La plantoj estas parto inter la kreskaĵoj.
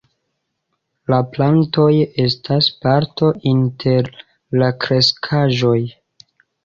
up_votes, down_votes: 2, 0